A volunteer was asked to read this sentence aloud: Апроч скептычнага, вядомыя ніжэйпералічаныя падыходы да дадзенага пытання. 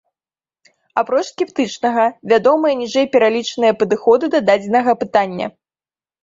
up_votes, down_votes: 2, 1